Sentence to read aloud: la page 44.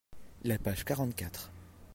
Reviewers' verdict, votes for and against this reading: rejected, 0, 2